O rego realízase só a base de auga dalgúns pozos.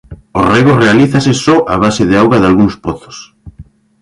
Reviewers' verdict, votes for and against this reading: accepted, 2, 0